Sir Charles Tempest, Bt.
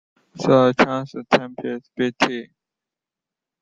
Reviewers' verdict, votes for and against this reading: rejected, 1, 2